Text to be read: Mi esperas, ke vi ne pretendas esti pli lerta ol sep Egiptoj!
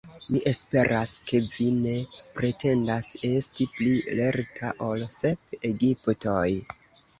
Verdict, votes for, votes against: accepted, 2, 0